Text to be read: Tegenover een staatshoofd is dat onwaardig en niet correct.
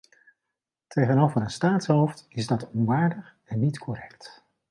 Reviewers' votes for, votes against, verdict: 2, 0, accepted